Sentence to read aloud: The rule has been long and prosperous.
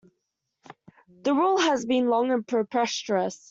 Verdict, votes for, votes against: rejected, 1, 2